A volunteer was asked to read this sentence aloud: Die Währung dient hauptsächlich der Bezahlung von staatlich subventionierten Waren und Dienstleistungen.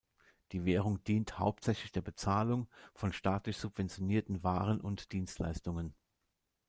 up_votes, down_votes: 2, 0